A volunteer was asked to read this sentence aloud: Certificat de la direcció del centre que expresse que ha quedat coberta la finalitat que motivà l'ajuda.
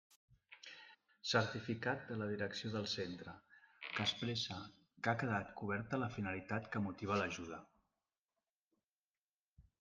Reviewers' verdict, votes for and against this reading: accepted, 2, 0